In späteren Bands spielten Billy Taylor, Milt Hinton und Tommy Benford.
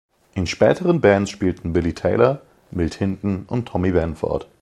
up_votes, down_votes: 2, 0